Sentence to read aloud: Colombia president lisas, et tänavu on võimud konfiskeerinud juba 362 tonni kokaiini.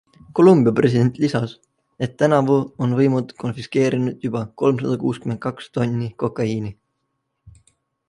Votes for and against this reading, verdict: 0, 2, rejected